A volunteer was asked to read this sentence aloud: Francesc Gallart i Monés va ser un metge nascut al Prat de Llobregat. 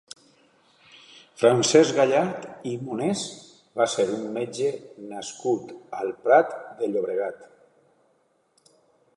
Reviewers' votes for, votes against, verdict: 2, 1, accepted